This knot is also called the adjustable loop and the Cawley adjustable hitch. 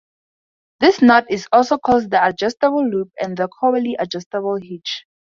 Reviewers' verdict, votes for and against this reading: accepted, 2, 0